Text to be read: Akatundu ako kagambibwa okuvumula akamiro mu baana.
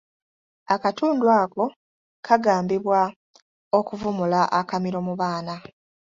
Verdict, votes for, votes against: accepted, 2, 0